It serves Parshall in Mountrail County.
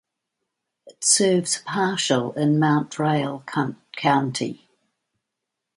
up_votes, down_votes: 0, 2